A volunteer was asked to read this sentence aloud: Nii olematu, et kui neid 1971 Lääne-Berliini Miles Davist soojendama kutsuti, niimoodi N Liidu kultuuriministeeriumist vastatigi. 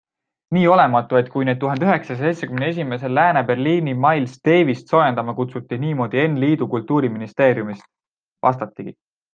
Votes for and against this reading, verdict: 0, 2, rejected